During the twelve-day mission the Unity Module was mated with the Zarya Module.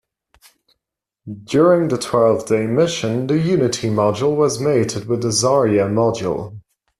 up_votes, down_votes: 2, 0